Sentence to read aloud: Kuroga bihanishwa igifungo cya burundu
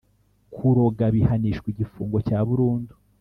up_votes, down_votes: 2, 0